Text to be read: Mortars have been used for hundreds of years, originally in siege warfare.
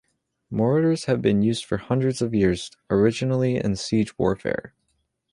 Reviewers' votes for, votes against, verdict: 2, 0, accepted